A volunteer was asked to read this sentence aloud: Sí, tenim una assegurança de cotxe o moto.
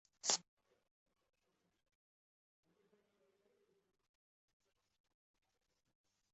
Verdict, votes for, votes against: rejected, 0, 2